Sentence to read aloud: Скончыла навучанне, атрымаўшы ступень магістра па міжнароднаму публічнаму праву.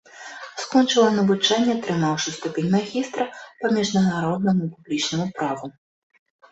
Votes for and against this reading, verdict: 1, 2, rejected